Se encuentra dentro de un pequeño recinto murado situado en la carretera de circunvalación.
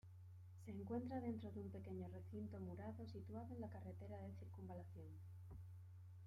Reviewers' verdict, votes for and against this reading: rejected, 0, 2